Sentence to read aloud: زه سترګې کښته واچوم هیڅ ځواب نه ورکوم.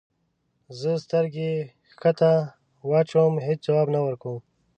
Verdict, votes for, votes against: accepted, 2, 0